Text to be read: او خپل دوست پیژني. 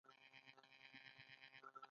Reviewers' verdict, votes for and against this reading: rejected, 0, 2